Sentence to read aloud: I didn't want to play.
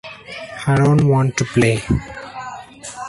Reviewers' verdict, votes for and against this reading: rejected, 1, 2